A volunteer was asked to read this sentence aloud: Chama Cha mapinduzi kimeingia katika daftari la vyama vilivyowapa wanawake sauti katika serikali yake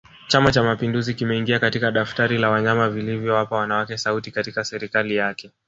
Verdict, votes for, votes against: rejected, 1, 2